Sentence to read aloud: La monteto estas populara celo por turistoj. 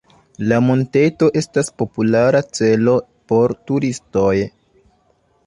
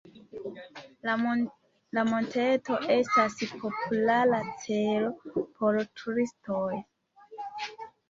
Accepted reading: first